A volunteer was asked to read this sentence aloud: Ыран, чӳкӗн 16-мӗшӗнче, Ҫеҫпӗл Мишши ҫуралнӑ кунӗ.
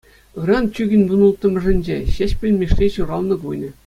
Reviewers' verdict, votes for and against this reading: rejected, 0, 2